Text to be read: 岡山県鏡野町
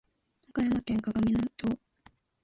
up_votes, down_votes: 2, 0